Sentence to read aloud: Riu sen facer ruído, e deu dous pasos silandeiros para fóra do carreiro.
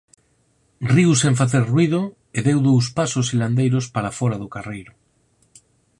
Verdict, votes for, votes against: accepted, 6, 2